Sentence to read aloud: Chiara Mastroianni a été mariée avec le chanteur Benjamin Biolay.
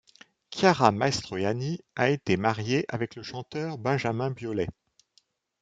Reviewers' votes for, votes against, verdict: 3, 1, accepted